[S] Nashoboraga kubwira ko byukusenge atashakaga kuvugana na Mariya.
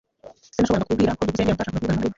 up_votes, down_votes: 0, 2